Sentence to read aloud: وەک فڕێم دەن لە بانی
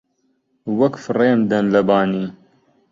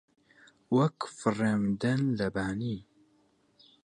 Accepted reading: first